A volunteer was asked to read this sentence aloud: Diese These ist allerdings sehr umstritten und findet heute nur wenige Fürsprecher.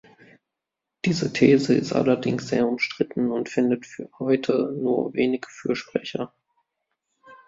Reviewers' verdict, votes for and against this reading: rejected, 0, 2